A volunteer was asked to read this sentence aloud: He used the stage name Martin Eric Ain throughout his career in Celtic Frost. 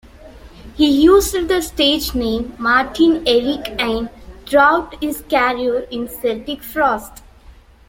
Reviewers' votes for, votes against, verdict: 2, 1, accepted